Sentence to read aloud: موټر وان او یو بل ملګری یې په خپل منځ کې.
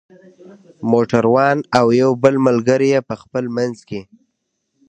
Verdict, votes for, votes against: accepted, 2, 1